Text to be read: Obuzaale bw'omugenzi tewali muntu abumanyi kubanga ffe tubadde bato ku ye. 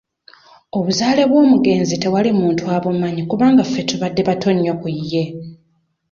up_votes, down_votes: 1, 2